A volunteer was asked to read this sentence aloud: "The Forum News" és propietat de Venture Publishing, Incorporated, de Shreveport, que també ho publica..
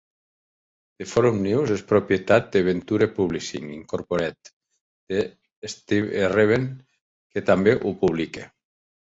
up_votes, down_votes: 0, 2